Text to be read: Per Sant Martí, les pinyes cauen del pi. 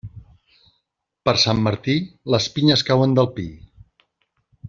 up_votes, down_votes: 3, 0